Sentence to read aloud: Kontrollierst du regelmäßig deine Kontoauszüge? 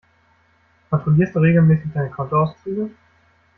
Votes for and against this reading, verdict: 2, 1, accepted